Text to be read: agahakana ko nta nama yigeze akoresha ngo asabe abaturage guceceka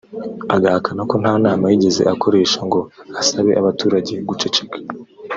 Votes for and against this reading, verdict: 4, 0, accepted